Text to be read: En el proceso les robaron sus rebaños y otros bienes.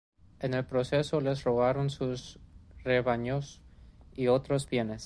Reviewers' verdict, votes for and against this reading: rejected, 1, 2